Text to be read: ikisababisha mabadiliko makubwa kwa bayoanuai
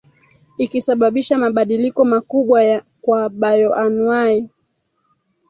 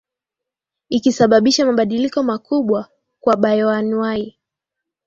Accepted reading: second